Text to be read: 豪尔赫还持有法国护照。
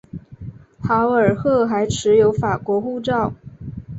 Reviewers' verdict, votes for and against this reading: accepted, 2, 0